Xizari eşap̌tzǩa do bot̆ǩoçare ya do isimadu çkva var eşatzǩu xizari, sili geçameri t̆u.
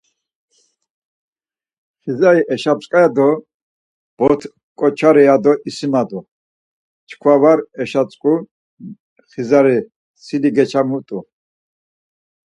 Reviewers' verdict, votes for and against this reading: rejected, 2, 4